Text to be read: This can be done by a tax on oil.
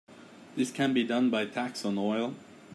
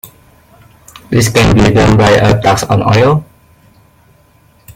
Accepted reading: first